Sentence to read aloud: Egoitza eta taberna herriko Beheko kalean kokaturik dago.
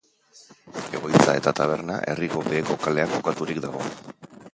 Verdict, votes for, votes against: rejected, 0, 2